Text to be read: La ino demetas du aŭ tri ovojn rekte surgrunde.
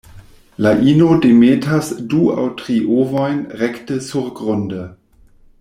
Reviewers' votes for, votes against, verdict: 2, 0, accepted